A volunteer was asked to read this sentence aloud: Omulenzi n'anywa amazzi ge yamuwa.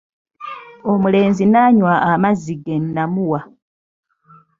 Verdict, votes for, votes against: rejected, 0, 2